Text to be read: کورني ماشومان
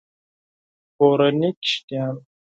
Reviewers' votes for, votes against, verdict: 2, 4, rejected